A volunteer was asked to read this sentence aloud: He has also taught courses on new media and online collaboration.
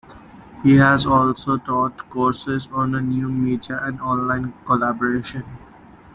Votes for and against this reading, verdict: 2, 0, accepted